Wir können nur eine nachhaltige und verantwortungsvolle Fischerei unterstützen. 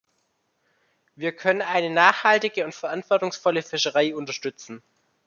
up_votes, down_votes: 0, 2